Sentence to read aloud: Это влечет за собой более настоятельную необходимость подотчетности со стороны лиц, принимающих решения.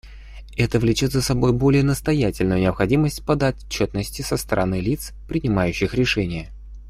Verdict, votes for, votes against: accepted, 2, 0